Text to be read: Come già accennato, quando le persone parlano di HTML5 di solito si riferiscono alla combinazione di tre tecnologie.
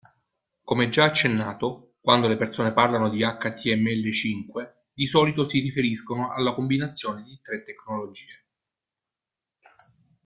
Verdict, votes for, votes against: rejected, 0, 2